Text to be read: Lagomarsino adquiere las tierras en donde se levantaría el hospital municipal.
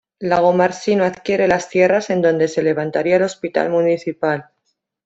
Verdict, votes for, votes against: accepted, 2, 0